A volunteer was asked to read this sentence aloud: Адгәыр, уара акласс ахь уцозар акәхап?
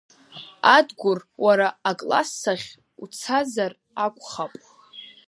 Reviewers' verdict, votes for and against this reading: rejected, 0, 2